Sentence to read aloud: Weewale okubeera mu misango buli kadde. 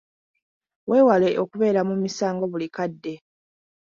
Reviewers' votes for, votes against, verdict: 2, 1, accepted